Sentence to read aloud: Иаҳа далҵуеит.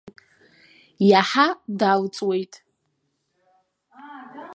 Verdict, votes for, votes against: rejected, 2, 3